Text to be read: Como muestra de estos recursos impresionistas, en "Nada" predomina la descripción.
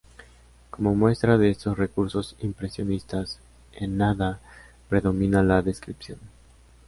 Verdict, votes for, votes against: accepted, 2, 0